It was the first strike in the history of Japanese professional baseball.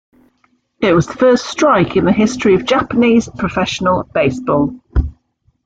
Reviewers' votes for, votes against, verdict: 2, 0, accepted